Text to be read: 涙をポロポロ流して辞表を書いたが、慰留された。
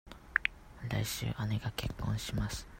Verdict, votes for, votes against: rejected, 0, 2